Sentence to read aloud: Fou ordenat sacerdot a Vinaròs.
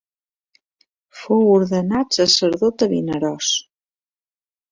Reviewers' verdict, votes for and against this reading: accepted, 2, 0